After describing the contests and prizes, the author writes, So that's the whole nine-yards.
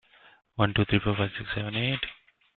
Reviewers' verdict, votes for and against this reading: rejected, 1, 2